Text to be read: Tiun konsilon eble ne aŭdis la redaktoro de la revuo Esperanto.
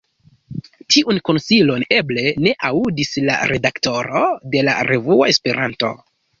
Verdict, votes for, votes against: accepted, 2, 0